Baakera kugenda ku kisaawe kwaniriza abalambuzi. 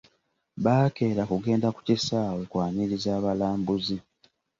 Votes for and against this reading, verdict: 2, 0, accepted